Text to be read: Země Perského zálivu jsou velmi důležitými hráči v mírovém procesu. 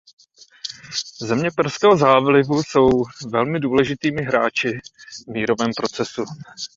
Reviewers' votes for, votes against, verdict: 0, 2, rejected